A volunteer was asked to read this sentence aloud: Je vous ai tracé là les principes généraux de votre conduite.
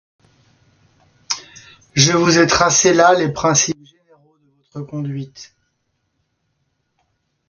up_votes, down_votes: 1, 2